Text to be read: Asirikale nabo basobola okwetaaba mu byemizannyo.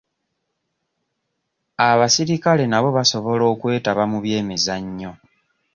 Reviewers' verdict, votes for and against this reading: rejected, 0, 2